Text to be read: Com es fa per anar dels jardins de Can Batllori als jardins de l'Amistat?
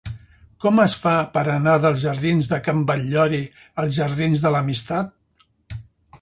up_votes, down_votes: 4, 0